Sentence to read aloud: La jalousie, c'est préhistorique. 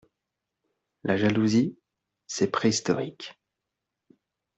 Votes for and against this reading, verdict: 2, 0, accepted